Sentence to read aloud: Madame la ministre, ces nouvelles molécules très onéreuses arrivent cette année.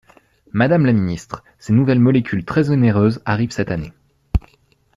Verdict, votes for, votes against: accepted, 2, 0